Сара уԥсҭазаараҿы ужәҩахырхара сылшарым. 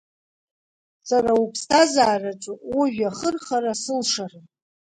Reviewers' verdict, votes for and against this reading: accepted, 2, 0